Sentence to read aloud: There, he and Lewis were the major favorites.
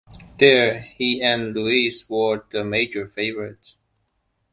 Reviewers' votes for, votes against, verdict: 1, 2, rejected